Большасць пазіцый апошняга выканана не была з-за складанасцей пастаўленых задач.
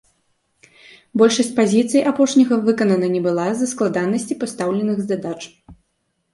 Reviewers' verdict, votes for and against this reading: accepted, 2, 0